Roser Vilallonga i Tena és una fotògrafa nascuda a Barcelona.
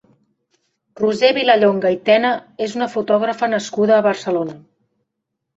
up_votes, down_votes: 5, 0